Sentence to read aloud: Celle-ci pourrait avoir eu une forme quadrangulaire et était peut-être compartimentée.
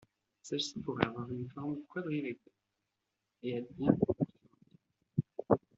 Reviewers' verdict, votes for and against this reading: rejected, 0, 2